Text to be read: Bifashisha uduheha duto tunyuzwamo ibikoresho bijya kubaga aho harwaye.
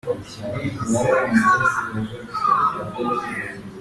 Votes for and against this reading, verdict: 0, 2, rejected